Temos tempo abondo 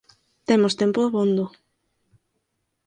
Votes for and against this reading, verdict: 4, 0, accepted